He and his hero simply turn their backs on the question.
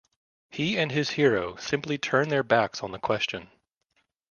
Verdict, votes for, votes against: accepted, 2, 0